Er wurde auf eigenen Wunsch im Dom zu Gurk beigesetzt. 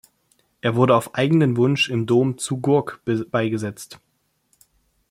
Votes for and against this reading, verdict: 1, 2, rejected